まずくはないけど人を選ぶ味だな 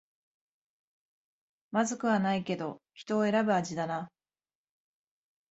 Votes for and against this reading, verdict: 6, 0, accepted